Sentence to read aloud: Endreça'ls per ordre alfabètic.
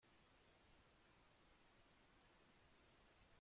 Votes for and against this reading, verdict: 0, 2, rejected